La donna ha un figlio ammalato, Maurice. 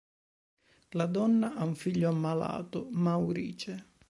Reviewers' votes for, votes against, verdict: 0, 2, rejected